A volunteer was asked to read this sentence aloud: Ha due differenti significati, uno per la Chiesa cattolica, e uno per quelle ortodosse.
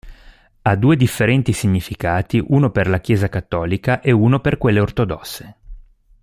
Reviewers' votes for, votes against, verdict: 2, 0, accepted